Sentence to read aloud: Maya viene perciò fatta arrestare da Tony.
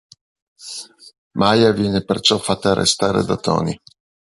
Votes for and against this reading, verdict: 2, 0, accepted